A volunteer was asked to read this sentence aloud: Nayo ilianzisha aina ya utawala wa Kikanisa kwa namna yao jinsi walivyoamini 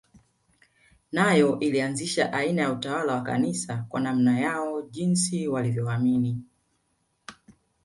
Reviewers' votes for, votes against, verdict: 1, 2, rejected